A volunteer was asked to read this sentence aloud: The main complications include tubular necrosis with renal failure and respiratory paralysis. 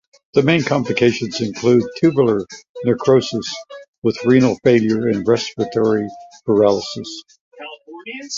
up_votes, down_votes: 2, 0